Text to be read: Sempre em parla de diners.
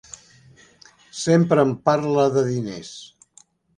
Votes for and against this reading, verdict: 3, 0, accepted